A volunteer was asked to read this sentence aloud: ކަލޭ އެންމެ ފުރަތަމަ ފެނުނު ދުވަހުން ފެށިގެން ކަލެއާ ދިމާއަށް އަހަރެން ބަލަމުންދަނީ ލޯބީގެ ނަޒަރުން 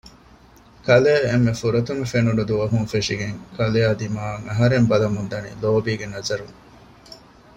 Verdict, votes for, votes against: accepted, 2, 0